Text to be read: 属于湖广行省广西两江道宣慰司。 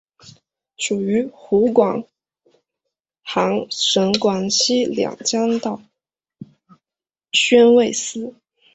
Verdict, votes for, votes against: accepted, 3, 1